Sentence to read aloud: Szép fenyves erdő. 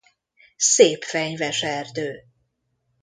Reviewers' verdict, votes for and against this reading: accepted, 2, 0